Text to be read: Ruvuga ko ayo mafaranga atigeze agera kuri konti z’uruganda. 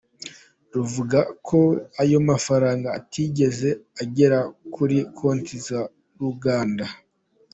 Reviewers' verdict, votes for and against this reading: accepted, 2, 0